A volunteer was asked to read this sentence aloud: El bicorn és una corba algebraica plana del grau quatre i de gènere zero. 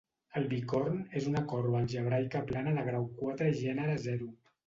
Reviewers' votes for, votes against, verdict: 0, 2, rejected